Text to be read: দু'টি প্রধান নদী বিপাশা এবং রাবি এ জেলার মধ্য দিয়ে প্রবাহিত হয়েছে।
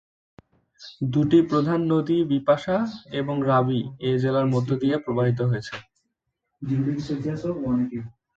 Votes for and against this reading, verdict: 0, 2, rejected